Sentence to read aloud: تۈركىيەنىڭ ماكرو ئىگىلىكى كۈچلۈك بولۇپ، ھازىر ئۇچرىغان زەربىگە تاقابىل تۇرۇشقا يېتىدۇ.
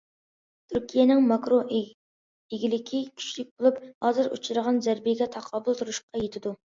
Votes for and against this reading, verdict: 2, 1, accepted